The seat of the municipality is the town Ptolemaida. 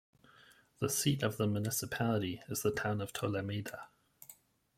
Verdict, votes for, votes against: rejected, 1, 2